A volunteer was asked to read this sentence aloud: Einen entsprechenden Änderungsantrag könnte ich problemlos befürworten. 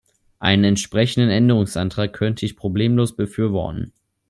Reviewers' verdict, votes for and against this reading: rejected, 1, 2